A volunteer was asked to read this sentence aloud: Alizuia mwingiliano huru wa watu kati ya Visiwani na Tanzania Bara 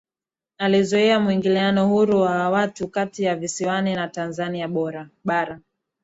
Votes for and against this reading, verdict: 0, 2, rejected